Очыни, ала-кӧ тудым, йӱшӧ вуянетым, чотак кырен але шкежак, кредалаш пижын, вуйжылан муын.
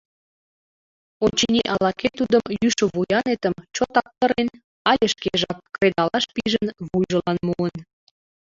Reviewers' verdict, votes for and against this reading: rejected, 1, 2